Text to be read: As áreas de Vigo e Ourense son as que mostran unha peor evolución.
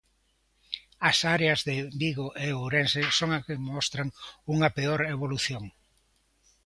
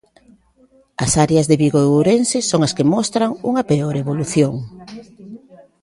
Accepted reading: first